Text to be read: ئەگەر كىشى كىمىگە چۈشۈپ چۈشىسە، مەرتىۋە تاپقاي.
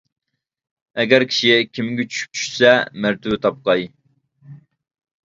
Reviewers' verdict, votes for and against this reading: rejected, 0, 2